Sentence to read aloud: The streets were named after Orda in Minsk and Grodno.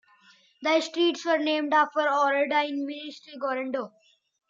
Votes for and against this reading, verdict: 0, 2, rejected